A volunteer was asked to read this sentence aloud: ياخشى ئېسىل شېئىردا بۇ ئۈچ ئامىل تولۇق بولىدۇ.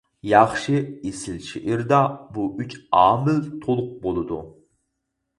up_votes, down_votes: 4, 0